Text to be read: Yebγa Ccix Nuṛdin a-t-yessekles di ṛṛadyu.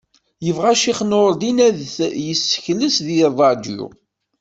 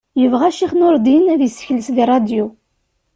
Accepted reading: second